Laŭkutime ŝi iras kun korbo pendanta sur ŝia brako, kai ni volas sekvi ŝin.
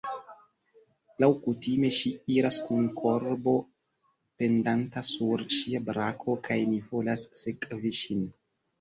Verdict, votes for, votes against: accepted, 2, 0